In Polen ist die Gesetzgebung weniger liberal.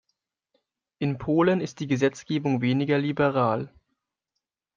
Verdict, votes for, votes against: accepted, 2, 0